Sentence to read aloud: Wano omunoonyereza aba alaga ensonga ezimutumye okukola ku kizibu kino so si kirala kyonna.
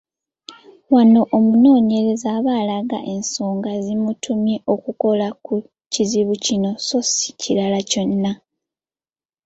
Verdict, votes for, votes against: accepted, 2, 0